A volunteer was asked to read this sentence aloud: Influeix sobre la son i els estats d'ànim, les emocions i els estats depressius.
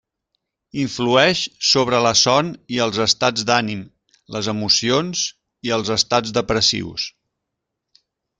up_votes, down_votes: 3, 0